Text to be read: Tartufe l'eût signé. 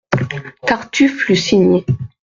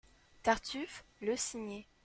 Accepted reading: first